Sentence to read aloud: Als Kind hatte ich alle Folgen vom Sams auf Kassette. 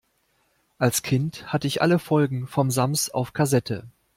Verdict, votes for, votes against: accepted, 2, 0